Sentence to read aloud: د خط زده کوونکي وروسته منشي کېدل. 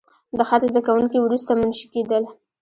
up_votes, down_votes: 2, 1